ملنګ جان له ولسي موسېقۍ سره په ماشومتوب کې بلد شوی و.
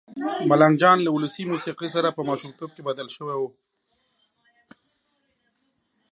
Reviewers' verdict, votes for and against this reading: rejected, 0, 2